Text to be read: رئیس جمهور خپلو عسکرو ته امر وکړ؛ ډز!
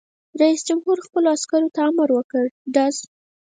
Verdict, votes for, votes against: accepted, 4, 2